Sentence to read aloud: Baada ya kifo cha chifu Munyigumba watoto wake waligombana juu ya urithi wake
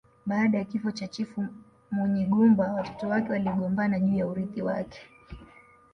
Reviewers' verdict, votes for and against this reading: rejected, 0, 2